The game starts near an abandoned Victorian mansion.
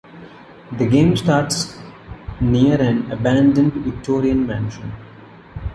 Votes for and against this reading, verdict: 1, 2, rejected